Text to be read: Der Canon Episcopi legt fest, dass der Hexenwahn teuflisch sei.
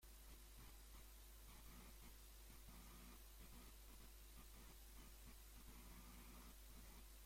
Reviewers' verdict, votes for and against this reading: rejected, 0, 2